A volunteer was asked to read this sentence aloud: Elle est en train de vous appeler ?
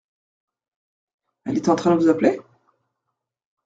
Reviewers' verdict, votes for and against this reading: rejected, 1, 2